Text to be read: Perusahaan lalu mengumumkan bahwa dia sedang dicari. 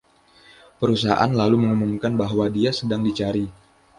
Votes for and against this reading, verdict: 2, 0, accepted